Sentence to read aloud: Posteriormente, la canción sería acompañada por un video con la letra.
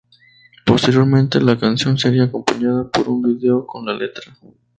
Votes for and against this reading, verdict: 2, 0, accepted